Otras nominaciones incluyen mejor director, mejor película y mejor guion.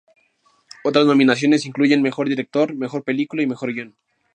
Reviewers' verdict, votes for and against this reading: accepted, 2, 0